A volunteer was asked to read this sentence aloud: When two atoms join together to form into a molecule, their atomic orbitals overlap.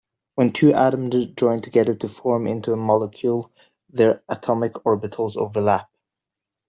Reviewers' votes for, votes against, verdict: 2, 0, accepted